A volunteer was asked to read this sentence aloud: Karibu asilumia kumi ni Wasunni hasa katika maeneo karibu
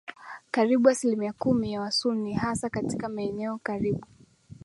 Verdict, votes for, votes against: accepted, 2, 0